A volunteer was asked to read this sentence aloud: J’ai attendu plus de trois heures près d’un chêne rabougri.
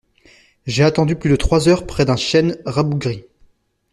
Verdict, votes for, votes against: accepted, 2, 0